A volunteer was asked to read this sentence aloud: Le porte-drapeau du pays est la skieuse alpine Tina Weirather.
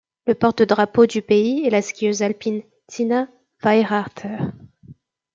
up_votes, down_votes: 1, 2